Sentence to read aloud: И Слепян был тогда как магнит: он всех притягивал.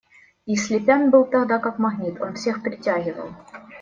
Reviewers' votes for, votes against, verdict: 2, 0, accepted